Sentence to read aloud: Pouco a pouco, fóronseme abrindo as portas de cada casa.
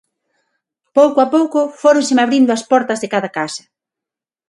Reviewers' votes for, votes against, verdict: 6, 0, accepted